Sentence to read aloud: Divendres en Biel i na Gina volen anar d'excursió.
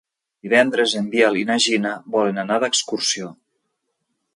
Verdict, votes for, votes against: accepted, 2, 0